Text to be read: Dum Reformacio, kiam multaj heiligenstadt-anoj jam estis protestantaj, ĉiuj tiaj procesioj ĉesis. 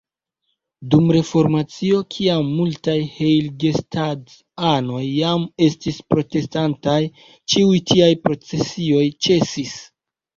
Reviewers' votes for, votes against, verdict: 2, 0, accepted